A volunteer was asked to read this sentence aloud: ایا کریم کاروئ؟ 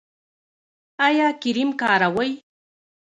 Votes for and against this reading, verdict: 1, 2, rejected